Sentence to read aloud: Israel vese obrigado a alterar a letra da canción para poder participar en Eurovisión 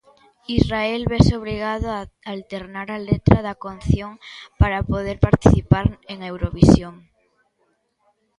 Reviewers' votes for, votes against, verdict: 1, 2, rejected